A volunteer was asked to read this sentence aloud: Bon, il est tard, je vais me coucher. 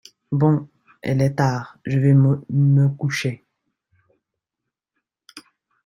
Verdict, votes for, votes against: rejected, 1, 2